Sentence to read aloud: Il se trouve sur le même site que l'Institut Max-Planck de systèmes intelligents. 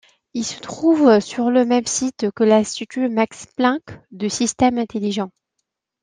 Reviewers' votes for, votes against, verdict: 2, 0, accepted